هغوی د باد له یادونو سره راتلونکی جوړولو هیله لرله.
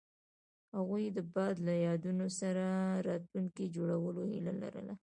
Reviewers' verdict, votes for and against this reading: accepted, 2, 0